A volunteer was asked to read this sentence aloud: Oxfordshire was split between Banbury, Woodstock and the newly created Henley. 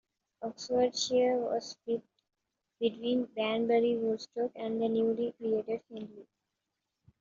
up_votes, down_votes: 2, 1